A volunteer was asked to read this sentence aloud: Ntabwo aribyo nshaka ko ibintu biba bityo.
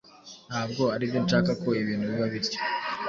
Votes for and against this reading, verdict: 1, 2, rejected